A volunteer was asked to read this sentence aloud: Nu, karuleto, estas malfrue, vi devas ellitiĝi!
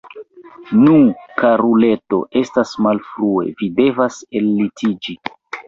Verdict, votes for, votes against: accepted, 2, 1